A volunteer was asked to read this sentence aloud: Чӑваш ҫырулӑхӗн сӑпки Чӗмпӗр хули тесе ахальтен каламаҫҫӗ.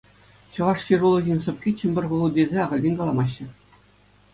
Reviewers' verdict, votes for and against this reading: accepted, 2, 0